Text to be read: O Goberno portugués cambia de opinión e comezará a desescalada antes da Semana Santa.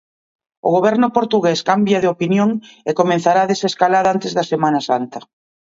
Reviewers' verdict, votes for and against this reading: rejected, 1, 2